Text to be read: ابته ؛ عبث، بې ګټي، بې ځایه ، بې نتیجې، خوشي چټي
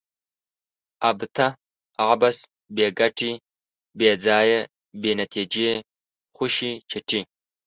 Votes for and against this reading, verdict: 2, 0, accepted